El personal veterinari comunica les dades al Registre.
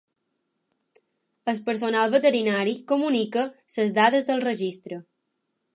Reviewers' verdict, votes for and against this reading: rejected, 0, 2